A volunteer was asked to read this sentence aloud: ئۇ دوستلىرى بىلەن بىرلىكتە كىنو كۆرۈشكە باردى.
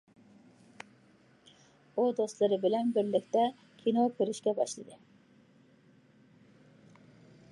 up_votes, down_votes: 1, 2